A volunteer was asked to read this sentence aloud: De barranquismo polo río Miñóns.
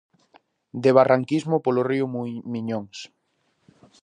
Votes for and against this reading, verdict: 0, 2, rejected